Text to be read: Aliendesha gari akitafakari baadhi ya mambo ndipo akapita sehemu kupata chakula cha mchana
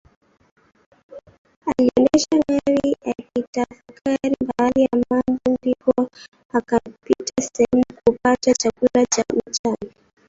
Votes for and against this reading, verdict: 0, 2, rejected